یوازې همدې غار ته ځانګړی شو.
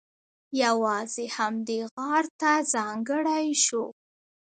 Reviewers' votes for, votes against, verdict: 2, 1, accepted